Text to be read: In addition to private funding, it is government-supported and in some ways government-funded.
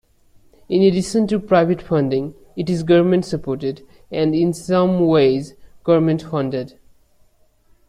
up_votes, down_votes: 3, 0